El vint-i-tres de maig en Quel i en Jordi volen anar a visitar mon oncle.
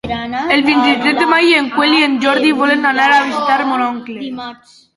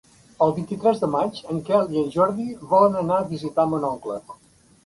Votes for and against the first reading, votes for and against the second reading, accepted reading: 0, 2, 3, 0, second